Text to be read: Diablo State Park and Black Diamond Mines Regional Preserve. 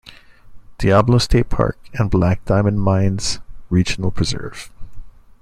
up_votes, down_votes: 2, 0